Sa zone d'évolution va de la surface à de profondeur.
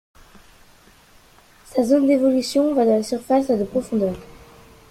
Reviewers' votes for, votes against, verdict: 0, 2, rejected